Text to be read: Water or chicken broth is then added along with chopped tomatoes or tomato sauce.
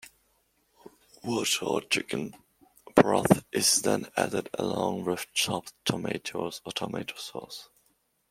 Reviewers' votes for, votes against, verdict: 2, 0, accepted